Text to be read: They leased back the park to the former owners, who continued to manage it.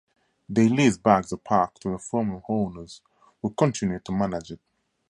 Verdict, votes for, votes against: accepted, 2, 0